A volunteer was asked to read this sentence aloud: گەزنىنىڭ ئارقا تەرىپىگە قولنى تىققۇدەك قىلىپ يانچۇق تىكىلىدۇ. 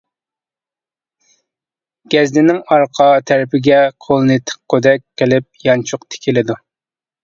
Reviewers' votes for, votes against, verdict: 2, 1, accepted